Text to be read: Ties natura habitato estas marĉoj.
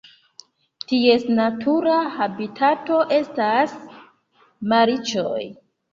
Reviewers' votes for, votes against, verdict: 3, 4, rejected